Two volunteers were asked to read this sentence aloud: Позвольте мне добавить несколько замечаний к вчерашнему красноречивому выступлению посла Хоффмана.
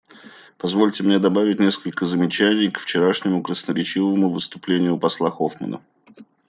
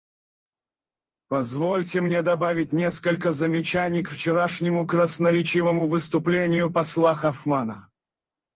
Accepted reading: first